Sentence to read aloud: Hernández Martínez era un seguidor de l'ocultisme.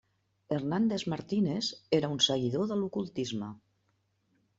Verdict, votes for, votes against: accepted, 3, 0